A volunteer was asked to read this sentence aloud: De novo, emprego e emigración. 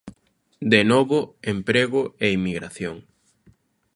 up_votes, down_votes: 2, 0